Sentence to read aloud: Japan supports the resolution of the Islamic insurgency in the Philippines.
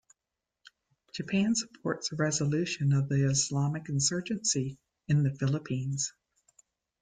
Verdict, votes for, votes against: accepted, 2, 0